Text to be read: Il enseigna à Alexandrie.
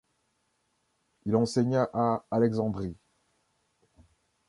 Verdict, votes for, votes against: rejected, 1, 2